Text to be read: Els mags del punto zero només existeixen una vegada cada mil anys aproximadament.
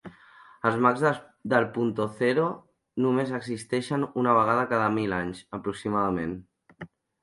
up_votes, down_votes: 0, 2